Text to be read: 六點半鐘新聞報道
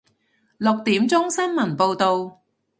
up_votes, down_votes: 0, 2